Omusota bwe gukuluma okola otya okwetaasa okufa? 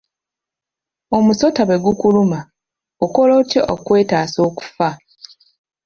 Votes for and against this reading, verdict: 2, 0, accepted